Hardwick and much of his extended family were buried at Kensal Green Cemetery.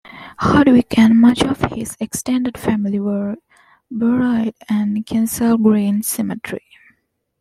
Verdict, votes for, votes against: rejected, 1, 2